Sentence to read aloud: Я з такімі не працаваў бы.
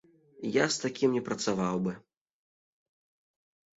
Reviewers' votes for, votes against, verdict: 1, 2, rejected